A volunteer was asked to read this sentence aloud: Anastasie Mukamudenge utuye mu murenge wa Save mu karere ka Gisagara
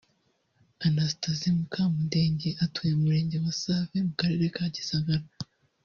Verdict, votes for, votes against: accepted, 2, 0